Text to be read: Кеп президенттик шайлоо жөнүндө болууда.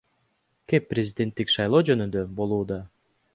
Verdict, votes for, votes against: accepted, 2, 0